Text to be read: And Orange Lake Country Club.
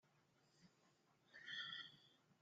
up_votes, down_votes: 0, 2